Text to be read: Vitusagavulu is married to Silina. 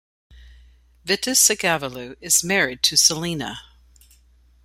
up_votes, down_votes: 2, 0